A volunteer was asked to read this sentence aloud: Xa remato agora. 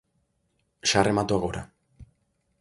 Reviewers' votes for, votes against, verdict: 2, 0, accepted